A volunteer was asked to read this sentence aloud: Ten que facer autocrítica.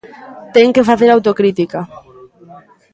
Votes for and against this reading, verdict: 0, 2, rejected